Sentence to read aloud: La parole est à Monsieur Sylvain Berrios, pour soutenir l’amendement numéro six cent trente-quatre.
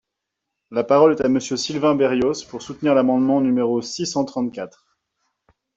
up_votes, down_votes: 2, 0